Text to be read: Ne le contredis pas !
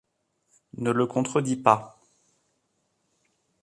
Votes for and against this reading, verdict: 2, 0, accepted